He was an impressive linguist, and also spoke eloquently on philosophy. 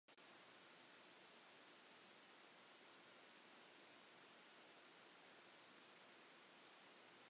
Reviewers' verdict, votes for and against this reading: rejected, 0, 2